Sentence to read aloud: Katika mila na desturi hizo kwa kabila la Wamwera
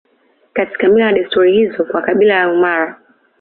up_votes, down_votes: 0, 2